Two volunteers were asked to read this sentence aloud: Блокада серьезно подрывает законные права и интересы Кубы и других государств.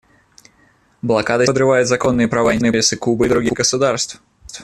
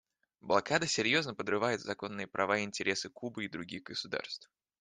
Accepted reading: second